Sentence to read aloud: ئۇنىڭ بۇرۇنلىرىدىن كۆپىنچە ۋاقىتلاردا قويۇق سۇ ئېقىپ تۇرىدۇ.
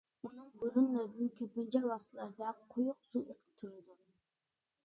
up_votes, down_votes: 1, 2